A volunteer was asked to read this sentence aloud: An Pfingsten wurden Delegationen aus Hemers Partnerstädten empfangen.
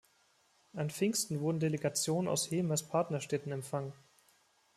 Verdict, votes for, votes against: accepted, 2, 1